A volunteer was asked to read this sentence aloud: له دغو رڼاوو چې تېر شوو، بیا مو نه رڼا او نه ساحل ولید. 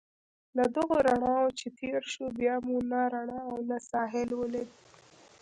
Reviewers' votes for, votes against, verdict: 0, 2, rejected